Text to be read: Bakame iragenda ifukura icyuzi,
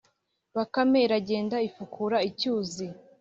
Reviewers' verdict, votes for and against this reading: accepted, 2, 0